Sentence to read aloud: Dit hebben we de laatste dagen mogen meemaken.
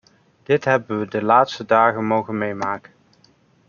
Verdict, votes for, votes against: rejected, 1, 2